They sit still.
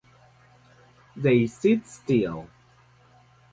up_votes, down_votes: 2, 0